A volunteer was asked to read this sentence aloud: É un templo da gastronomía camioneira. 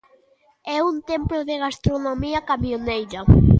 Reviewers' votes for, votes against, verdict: 1, 2, rejected